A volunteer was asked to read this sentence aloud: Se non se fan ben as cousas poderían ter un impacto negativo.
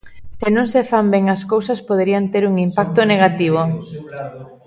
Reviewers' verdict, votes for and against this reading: rejected, 1, 2